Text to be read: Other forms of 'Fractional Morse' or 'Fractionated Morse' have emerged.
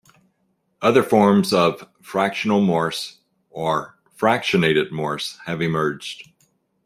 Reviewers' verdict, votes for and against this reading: accepted, 2, 0